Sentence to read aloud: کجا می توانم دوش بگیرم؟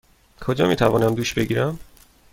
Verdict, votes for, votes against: accepted, 2, 0